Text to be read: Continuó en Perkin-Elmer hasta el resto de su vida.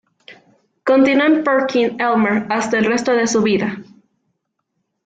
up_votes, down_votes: 1, 2